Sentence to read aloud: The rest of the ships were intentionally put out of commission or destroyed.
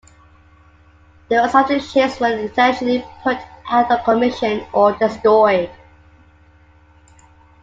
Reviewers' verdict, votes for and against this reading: accepted, 2, 1